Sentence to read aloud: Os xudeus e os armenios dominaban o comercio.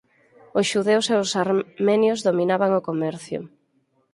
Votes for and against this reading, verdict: 2, 4, rejected